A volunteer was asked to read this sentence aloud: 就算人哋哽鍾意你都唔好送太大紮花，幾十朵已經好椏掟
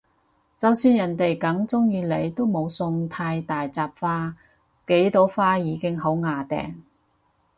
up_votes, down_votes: 0, 4